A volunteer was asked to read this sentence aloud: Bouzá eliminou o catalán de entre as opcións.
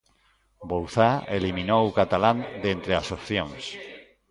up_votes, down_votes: 1, 2